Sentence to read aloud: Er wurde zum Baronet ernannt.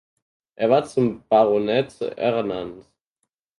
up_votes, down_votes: 0, 4